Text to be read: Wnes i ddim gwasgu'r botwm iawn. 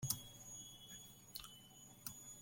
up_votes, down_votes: 0, 2